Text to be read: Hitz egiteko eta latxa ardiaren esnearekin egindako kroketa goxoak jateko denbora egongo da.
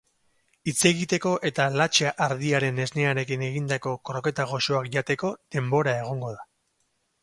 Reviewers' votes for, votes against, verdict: 4, 0, accepted